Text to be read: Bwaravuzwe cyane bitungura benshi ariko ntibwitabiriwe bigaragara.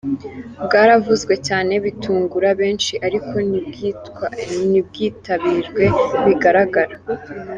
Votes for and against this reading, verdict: 2, 3, rejected